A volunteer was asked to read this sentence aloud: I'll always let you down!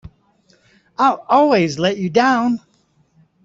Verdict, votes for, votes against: accepted, 2, 0